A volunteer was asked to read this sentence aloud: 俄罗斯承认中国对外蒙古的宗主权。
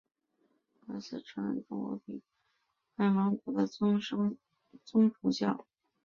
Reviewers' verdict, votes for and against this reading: rejected, 0, 2